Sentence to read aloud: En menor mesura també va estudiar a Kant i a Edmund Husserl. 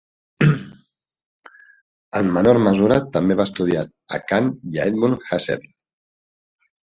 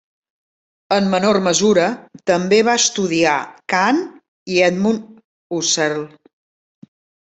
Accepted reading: first